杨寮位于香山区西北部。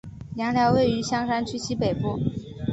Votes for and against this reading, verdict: 2, 1, accepted